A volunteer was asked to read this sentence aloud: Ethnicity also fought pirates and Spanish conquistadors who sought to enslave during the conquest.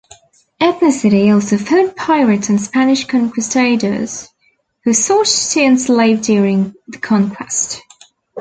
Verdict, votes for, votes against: accepted, 2, 0